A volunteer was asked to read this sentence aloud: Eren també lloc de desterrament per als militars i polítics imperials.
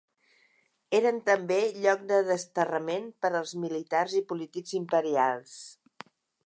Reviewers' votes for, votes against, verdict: 3, 0, accepted